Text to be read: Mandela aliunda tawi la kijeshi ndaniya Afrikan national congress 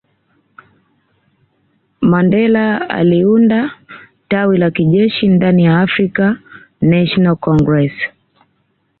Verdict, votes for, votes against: accepted, 2, 0